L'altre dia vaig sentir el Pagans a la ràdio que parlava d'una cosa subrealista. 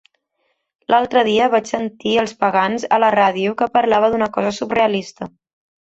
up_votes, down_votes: 0, 2